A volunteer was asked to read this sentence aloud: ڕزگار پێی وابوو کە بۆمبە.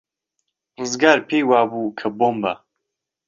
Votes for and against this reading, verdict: 2, 0, accepted